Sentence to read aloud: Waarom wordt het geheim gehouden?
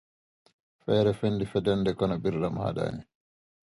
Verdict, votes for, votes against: rejected, 0, 2